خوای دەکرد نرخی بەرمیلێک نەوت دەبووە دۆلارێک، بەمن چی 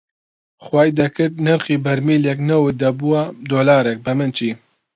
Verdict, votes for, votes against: accepted, 2, 0